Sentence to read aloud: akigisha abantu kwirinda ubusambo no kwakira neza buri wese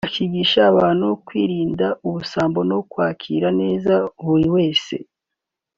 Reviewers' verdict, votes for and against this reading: accepted, 3, 0